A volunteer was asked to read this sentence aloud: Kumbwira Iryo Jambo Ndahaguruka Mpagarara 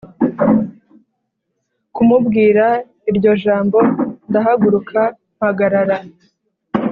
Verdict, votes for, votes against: rejected, 0, 2